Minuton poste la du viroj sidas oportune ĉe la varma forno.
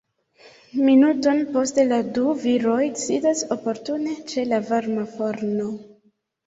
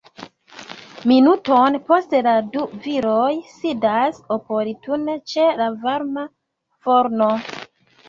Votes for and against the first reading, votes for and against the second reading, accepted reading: 2, 0, 1, 2, first